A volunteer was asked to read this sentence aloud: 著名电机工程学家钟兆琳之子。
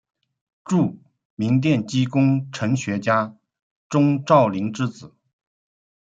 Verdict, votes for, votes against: accepted, 2, 0